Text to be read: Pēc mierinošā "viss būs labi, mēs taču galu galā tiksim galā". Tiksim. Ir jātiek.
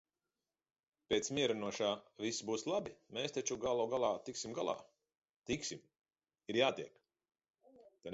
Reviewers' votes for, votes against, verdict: 2, 1, accepted